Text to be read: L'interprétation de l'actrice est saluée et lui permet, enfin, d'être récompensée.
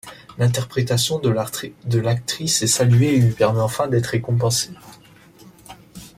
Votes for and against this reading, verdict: 1, 2, rejected